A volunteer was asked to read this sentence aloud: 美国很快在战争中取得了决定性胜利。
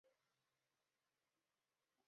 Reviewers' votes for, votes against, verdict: 1, 2, rejected